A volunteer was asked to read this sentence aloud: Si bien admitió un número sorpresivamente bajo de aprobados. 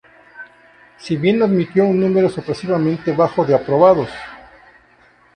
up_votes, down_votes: 2, 2